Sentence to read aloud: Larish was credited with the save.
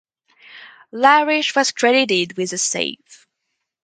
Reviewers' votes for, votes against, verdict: 4, 0, accepted